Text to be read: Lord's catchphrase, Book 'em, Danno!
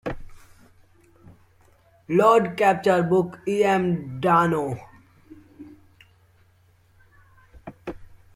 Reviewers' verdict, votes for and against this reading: rejected, 0, 2